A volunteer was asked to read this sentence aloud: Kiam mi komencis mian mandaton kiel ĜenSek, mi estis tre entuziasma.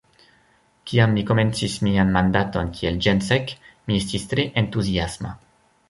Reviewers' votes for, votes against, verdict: 2, 0, accepted